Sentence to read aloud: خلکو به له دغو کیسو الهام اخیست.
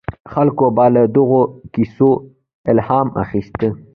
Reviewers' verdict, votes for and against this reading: rejected, 1, 2